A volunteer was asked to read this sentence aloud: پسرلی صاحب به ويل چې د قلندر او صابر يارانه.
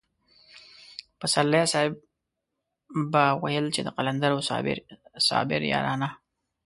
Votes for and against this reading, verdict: 1, 2, rejected